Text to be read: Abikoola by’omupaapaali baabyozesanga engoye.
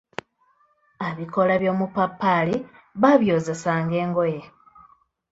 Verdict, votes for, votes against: rejected, 0, 2